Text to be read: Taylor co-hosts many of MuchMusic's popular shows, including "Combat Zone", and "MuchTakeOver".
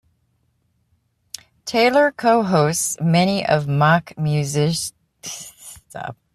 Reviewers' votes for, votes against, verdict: 0, 3, rejected